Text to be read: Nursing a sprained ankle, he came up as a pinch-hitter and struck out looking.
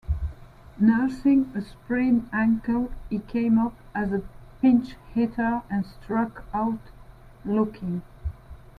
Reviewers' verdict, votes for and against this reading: rejected, 0, 2